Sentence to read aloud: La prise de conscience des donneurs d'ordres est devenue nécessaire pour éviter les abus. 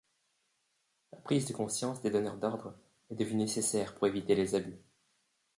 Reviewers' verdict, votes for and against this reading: accepted, 2, 1